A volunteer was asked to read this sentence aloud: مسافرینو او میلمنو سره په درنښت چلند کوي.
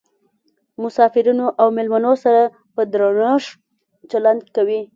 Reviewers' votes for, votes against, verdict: 2, 0, accepted